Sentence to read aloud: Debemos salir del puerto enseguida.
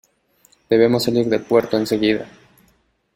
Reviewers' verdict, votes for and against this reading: accepted, 2, 0